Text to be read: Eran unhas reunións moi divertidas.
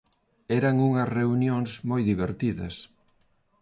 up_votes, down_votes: 2, 0